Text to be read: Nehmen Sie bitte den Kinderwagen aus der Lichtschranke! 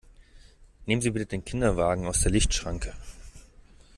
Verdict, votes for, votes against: accepted, 2, 0